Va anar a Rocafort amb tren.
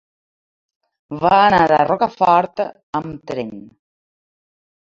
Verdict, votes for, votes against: accepted, 2, 0